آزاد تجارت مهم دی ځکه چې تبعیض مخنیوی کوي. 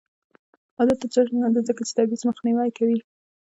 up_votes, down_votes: 1, 2